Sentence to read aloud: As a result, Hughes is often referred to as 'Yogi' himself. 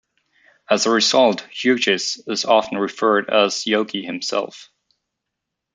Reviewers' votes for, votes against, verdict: 1, 2, rejected